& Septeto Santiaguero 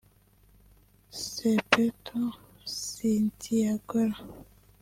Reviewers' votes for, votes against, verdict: 1, 2, rejected